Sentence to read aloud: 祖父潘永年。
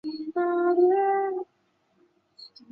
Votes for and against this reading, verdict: 0, 2, rejected